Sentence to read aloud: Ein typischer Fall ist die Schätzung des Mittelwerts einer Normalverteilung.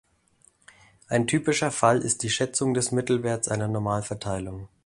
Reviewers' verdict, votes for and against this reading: accepted, 2, 0